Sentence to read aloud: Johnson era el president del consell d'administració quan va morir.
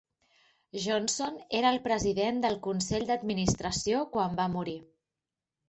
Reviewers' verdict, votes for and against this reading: accepted, 4, 0